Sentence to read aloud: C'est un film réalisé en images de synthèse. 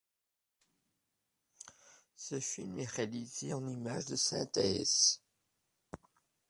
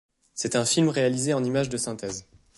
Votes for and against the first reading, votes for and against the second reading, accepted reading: 0, 2, 2, 0, second